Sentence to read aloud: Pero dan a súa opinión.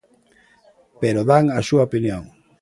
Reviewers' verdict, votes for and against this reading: accepted, 2, 0